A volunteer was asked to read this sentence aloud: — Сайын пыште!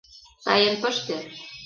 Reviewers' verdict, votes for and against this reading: rejected, 1, 2